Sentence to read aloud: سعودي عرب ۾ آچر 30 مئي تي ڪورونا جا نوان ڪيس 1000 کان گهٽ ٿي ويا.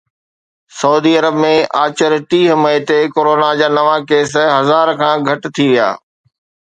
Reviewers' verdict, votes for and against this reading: rejected, 0, 2